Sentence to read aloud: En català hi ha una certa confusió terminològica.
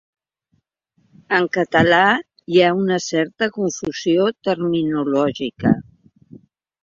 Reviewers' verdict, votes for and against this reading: accepted, 3, 0